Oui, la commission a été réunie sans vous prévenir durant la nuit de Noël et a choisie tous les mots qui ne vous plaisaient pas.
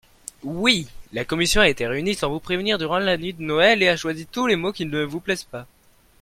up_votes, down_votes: 1, 2